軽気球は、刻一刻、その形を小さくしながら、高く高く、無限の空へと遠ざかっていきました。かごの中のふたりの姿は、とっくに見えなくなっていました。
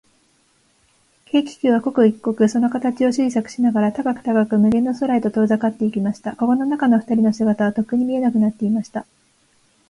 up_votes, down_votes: 14, 1